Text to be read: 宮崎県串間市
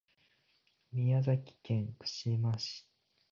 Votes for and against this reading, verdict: 2, 0, accepted